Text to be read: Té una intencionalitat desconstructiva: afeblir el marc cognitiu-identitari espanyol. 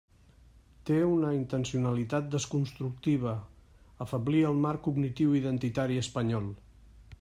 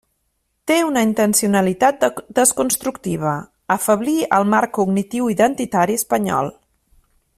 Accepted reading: first